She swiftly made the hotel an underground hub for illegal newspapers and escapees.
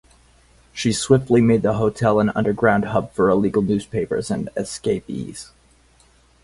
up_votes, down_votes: 4, 0